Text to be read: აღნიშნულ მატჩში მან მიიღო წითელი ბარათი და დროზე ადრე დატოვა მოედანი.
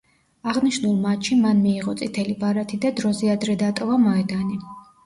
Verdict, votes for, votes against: accepted, 2, 0